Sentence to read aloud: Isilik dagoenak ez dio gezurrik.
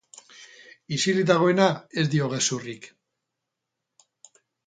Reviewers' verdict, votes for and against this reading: rejected, 2, 4